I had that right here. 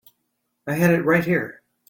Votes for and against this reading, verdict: 2, 1, accepted